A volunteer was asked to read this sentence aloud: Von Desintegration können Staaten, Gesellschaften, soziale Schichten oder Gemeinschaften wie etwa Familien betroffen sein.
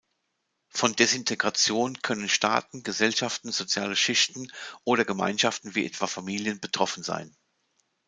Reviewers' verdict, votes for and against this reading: accepted, 2, 0